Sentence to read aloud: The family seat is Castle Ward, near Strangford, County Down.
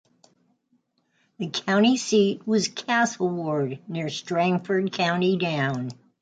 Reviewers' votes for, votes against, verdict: 0, 3, rejected